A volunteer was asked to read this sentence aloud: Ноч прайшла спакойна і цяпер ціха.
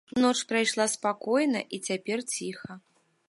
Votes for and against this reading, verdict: 2, 0, accepted